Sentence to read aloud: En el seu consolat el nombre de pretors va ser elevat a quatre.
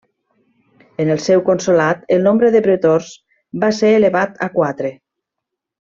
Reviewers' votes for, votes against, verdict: 3, 0, accepted